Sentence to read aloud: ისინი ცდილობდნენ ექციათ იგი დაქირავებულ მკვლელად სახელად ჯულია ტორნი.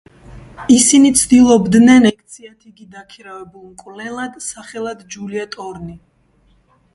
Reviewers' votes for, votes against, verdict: 1, 2, rejected